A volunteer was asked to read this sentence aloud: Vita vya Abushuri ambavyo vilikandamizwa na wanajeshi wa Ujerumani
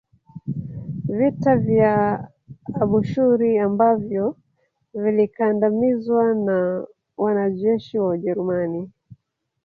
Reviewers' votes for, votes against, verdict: 2, 3, rejected